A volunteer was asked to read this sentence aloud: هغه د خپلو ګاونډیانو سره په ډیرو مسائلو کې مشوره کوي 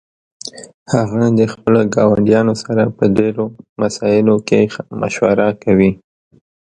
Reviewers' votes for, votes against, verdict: 1, 2, rejected